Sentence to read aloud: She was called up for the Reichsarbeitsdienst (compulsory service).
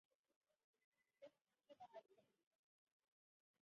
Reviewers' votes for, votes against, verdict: 0, 2, rejected